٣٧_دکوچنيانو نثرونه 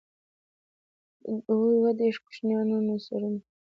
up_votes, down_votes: 0, 2